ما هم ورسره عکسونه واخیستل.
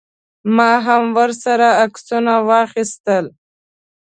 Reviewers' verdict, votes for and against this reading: accepted, 2, 0